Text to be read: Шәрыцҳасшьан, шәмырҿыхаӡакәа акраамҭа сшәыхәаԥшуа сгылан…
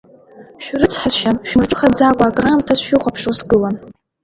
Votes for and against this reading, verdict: 0, 2, rejected